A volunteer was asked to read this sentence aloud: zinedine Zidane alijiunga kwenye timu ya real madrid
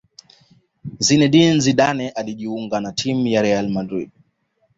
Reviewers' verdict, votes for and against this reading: accepted, 2, 1